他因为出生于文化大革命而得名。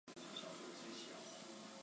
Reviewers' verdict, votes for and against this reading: rejected, 1, 2